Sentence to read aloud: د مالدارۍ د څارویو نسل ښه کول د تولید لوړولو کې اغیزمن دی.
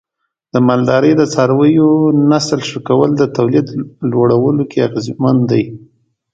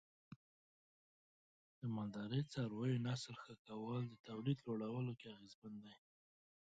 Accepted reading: first